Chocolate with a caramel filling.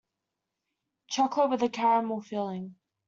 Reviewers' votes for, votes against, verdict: 1, 2, rejected